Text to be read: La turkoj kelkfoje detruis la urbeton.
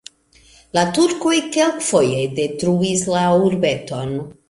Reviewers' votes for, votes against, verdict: 2, 0, accepted